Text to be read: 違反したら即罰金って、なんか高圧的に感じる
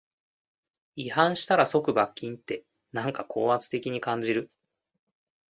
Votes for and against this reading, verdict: 2, 0, accepted